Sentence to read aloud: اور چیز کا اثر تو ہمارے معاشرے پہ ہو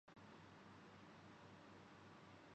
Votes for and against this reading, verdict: 0, 2, rejected